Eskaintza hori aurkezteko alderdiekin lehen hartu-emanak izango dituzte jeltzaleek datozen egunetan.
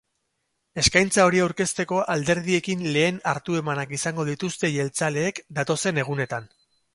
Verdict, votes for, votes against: accepted, 4, 0